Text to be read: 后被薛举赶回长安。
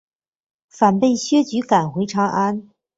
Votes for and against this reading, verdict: 1, 2, rejected